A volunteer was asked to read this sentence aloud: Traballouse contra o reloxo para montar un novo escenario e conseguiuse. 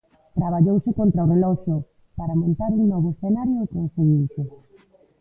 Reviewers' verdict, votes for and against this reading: rejected, 0, 2